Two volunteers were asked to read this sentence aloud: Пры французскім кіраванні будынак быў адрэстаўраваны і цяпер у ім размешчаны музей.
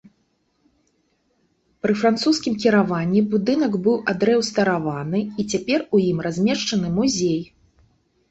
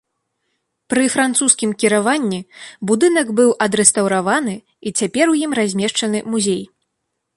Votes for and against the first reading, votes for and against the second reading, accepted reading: 0, 2, 3, 0, second